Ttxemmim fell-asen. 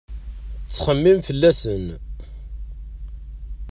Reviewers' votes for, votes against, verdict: 2, 0, accepted